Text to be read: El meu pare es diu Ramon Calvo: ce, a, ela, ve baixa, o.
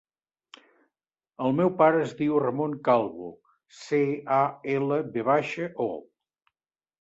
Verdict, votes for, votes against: accepted, 4, 0